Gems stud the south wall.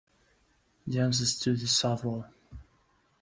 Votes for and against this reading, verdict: 1, 2, rejected